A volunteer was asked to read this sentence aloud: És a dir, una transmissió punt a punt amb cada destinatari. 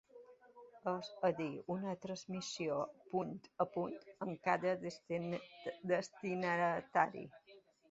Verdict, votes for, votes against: rejected, 0, 2